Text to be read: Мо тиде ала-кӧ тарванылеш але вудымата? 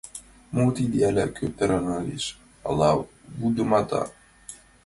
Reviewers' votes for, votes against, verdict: 1, 2, rejected